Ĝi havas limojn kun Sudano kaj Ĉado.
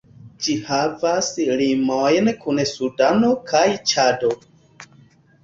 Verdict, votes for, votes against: accepted, 2, 0